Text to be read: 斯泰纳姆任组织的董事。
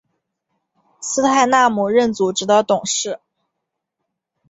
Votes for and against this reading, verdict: 3, 0, accepted